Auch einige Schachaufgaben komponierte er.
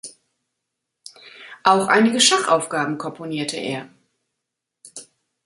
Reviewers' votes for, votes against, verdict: 2, 0, accepted